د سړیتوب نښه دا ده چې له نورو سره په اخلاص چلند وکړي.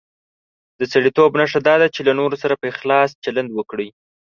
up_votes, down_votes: 3, 0